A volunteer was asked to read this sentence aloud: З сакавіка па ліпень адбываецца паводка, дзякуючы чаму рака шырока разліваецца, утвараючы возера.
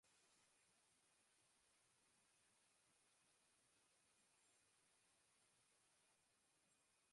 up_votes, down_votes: 0, 2